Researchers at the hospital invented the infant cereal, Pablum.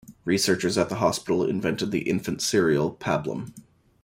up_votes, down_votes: 2, 0